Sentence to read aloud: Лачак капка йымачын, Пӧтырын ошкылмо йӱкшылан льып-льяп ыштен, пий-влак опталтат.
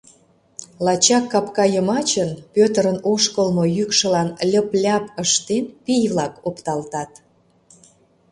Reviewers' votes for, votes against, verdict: 2, 0, accepted